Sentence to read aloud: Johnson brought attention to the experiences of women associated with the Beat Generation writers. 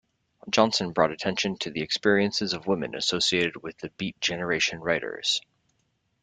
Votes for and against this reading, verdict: 2, 0, accepted